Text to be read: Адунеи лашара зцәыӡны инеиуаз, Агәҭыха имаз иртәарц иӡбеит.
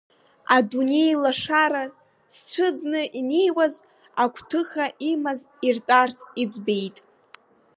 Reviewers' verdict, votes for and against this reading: accepted, 2, 1